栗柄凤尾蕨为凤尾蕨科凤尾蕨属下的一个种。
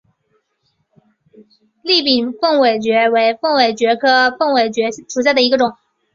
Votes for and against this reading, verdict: 3, 0, accepted